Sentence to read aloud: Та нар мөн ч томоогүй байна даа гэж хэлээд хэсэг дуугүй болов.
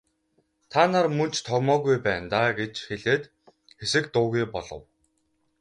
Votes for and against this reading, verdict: 0, 2, rejected